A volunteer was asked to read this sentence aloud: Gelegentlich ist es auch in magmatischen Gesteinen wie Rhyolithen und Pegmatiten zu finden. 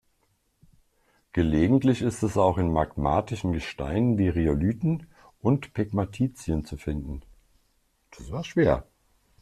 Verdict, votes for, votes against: rejected, 0, 2